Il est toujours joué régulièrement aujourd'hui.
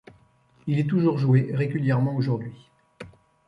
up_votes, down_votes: 2, 0